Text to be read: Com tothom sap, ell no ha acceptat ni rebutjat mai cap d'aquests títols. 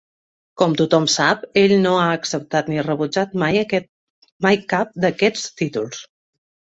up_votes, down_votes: 1, 2